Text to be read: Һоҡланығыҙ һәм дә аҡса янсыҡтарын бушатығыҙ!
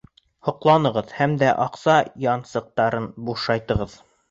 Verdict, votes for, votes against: rejected, 2, 3